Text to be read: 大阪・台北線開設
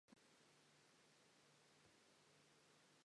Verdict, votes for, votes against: rejected, 2, 3